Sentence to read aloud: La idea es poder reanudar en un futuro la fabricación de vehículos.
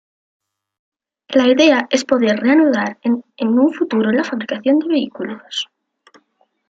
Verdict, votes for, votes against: rejected, 0, 2